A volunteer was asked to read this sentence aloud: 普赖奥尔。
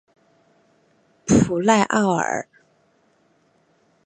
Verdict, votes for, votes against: accepted, 2, 0